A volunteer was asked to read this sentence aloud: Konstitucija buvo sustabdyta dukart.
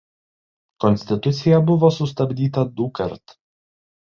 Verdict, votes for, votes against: accepted, 2, 0